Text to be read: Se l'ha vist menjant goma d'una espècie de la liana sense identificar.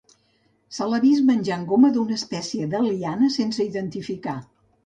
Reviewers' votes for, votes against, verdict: 1, 2, rejected